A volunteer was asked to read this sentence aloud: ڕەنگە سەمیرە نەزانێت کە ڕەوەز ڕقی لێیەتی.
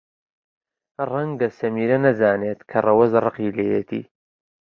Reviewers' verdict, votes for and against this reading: accepted, 2, 0